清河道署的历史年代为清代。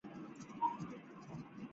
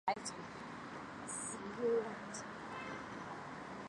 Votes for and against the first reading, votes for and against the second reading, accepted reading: 1, 3, 2, 1, second